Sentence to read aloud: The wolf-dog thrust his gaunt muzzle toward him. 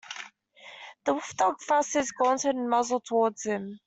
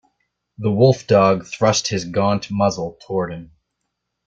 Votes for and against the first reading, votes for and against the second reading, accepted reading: 1, 2, 2, 0, second